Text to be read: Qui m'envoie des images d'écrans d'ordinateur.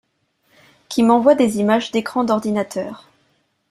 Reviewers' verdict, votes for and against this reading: accepted, 3, 1